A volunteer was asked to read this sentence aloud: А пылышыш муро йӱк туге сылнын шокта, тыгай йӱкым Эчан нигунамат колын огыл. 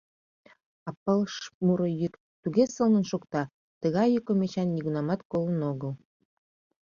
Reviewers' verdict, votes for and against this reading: rejected, 0, 2